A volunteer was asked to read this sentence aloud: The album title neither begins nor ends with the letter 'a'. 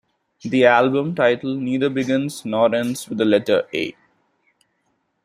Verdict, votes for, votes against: accepted, 2, 0